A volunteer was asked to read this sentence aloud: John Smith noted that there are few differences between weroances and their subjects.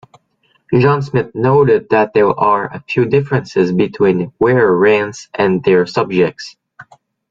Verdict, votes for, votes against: rejected, 0, 2